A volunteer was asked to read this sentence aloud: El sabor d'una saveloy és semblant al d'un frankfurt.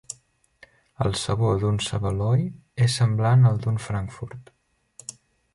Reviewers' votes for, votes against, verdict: 2, 3, rejected